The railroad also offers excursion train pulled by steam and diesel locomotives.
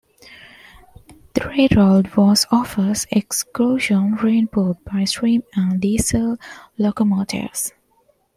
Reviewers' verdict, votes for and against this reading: rejected, 0, 2